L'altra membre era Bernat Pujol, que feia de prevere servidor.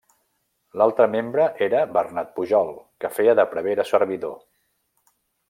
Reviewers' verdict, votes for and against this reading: accepted, 2, 0